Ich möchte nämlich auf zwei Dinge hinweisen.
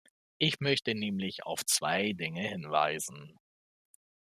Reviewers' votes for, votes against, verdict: 2, 0, accepted